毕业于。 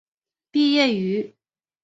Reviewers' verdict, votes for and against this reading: accepted, 2, 0